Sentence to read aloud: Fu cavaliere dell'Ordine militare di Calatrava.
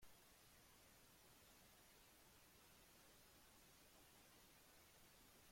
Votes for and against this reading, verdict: 0, 2, rejected